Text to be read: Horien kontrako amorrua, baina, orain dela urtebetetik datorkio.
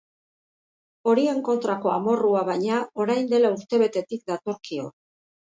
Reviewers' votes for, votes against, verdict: 2, 1, accepted